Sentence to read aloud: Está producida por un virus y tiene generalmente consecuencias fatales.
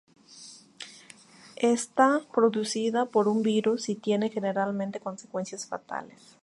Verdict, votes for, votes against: rejected, 0, 2